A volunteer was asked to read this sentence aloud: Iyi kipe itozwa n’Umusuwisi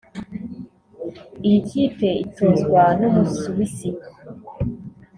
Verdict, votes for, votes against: rejected, 1, 2